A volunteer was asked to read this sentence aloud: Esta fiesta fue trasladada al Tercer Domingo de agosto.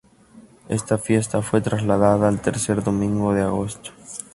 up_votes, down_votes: 2, 0